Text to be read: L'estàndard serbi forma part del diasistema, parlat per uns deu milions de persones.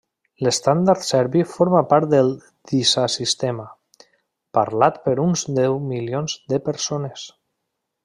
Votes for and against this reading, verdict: 1, 2, rejected